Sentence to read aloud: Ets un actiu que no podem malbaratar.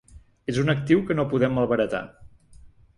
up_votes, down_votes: 0, 2